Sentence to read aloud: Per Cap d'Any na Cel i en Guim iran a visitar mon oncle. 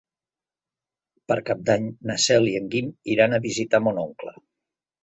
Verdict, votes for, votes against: accepted, 4, 0